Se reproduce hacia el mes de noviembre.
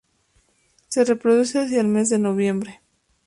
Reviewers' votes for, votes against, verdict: 2, 0, accepted